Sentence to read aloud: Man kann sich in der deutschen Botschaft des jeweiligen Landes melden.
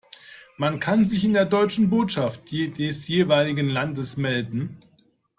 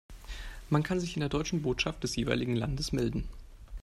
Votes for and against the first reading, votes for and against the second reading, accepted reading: 0, 2, 2, 0, second